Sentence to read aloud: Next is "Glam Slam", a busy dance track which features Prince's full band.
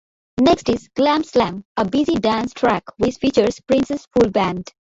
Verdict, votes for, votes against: rejected, 0, 2